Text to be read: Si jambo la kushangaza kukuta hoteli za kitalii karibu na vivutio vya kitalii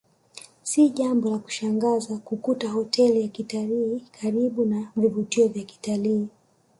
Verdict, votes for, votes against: accepted, 2, 0